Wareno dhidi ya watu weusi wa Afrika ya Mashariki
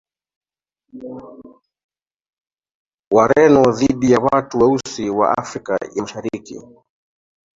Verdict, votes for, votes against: rejected, 1, 2